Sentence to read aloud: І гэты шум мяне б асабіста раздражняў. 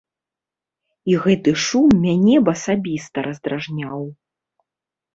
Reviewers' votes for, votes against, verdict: 2, 0, accepted